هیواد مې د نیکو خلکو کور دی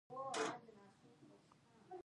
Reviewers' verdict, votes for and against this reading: rejected, 1, 2